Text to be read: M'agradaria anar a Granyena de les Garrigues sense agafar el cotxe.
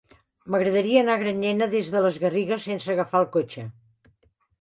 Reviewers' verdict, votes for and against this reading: rejected, 1, 2